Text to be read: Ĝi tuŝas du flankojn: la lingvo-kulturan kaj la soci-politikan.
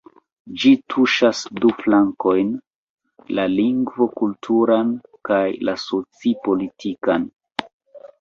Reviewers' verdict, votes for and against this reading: rejected, 0, 2